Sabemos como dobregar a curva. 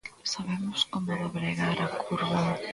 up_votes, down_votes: 2, 1